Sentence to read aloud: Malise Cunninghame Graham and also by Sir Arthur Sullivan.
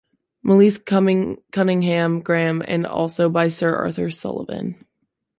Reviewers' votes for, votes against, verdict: 1, 2, rejected